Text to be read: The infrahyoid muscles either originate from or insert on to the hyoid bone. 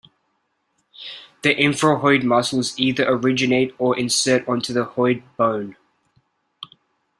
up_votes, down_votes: 1, 2